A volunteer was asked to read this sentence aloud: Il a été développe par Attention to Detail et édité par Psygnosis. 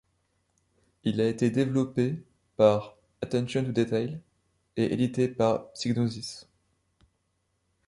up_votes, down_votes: 1, 2